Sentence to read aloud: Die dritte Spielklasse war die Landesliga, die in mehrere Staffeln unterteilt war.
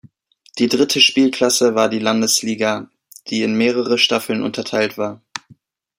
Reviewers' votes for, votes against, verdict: 2, 0, accepted